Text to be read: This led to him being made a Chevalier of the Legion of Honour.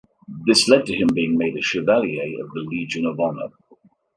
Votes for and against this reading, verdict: 2, 1, accepted